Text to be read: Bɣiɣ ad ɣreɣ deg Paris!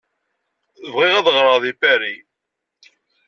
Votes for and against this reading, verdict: 2, 0, accepted